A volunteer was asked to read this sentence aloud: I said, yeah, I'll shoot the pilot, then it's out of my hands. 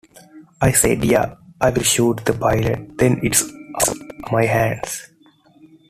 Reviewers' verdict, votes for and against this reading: accepted, 2, 0